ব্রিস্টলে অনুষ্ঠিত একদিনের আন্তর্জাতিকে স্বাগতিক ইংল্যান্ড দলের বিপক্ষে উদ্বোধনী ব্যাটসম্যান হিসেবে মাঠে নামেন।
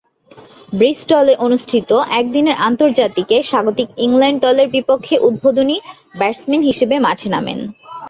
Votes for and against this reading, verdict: 5, 1, accepted